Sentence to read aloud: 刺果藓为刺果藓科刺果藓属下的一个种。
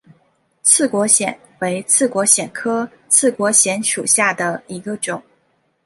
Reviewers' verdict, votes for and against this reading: accepted, 2, 0